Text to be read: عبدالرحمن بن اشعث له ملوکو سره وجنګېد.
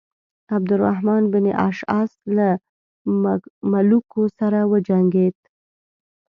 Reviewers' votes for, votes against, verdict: 1, 2, rejected